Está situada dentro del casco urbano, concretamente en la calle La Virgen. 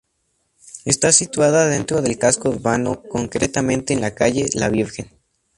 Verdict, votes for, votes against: rejected, 2, 2